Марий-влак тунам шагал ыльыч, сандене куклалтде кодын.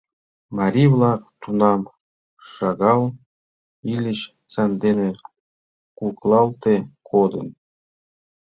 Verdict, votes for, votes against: rejected, 0, 2